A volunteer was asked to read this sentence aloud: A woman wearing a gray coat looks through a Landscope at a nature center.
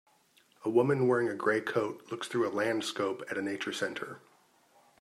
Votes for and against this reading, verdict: 2, 0, accepted